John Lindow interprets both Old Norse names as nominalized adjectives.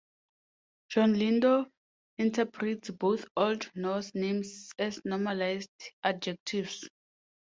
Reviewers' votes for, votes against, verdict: 2, 4, rejected